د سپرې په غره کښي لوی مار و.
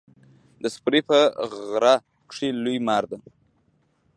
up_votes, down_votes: 1, 2